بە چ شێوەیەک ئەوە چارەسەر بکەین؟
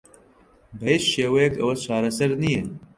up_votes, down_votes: 1, 2